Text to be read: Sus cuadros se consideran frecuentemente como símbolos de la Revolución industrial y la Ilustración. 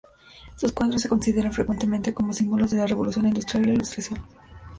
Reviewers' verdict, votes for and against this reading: rejected, 1, 2